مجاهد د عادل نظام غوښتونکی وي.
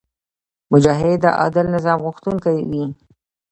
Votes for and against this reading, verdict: 1, 2, rejected